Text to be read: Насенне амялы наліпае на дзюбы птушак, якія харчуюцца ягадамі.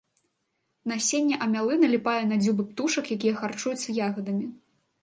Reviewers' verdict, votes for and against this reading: accepted, 2, 0